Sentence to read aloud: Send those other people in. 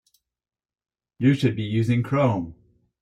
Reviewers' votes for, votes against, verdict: 0, 4, rejected